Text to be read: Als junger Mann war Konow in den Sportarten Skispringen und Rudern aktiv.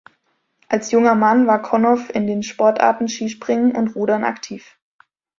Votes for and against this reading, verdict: 2, 0, accepted